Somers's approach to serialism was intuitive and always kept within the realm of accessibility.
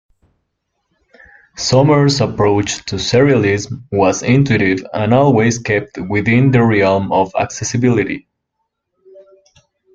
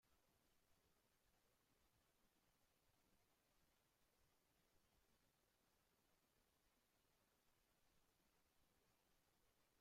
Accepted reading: first